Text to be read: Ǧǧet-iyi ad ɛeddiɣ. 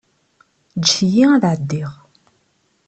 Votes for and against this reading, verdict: 2, 0, accepted